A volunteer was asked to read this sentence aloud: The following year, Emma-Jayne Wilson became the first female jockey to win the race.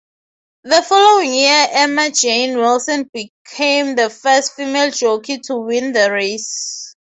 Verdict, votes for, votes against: accepted, 6, 0